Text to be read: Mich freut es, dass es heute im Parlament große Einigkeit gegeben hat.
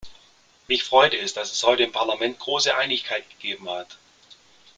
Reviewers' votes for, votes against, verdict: 2, 0, accepted